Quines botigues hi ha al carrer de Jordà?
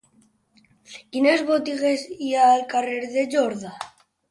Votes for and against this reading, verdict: 1, 2, rejected